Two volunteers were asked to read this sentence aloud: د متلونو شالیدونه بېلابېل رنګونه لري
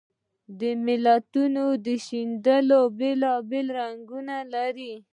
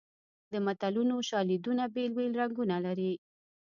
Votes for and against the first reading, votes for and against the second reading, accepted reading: 2, 0, 1, 2, first